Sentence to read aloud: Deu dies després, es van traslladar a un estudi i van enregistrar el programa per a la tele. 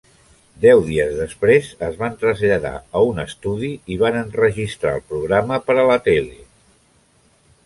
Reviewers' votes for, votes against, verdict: 3, 0, accepted